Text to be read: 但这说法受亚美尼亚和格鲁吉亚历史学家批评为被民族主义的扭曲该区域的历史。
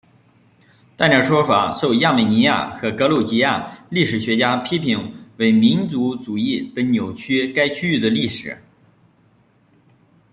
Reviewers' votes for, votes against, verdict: 0, 2, rejected